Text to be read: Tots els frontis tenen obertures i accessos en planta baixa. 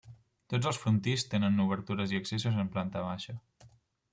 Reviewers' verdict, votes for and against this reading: rejected, 1, 2